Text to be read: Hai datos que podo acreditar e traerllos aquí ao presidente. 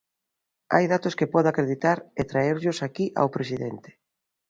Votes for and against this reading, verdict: 2, 0, accepted